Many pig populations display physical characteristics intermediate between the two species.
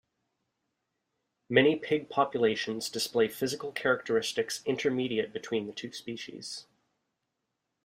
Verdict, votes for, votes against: accepted, 2, 0